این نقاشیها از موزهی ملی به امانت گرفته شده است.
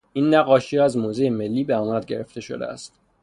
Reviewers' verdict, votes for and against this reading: accepted, 3, 0